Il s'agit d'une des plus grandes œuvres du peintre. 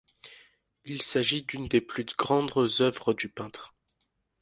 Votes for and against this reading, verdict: 1, 2, rejected